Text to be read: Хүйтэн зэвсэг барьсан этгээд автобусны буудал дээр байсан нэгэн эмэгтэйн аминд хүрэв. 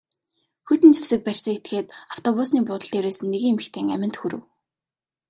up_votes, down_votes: 2, 0